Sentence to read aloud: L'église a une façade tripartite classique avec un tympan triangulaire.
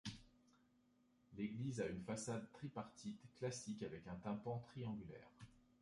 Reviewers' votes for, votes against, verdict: 2, 1, accepted